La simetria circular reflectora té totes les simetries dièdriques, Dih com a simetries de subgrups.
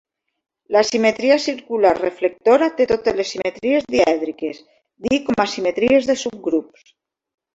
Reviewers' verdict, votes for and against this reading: accepted, 2, 1